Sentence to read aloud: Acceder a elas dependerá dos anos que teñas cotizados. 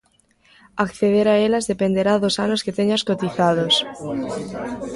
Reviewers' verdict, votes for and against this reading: accepted, 2, 1